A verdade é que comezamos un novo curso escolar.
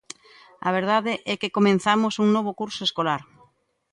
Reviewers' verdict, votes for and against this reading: rejected, 0, 2